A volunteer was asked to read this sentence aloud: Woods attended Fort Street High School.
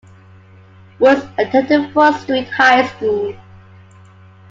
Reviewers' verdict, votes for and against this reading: accepted, 2, 1